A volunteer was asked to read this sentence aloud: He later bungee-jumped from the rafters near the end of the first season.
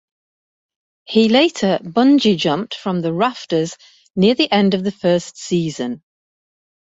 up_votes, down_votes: 2, 0